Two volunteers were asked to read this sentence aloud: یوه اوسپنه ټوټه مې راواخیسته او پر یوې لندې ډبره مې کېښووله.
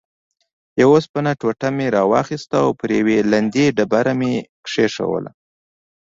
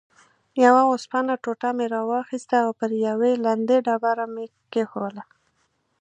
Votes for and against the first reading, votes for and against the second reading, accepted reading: 1, 2, 2, 0, second